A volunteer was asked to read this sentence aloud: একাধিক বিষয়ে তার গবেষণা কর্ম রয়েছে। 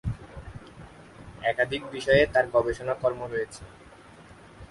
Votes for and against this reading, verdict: 0, 4, rejected